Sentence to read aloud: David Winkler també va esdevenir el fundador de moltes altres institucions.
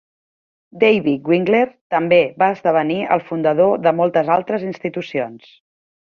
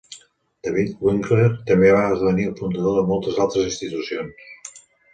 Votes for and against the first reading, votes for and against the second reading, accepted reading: 2, 0, 0, 2, first